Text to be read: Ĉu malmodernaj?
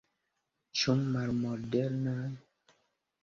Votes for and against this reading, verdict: 2, 0, accepted